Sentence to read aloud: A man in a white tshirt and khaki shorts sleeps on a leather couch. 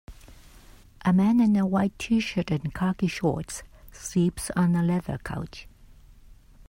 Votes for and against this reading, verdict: 3, 0, accepted